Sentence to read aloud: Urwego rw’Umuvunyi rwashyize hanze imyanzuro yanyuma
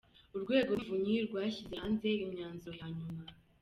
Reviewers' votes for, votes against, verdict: 0, 2, rejected